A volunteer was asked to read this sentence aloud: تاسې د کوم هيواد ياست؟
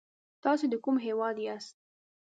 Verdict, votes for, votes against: accepted, 2, 1